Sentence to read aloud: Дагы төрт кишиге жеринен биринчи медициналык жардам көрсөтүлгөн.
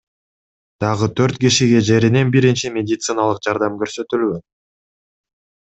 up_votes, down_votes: 2, 0